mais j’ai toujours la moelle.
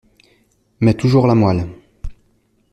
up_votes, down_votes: 0, 2